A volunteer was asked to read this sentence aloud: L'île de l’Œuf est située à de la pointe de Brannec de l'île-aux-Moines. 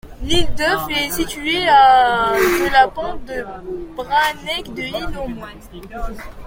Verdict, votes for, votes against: rejected, 0, 2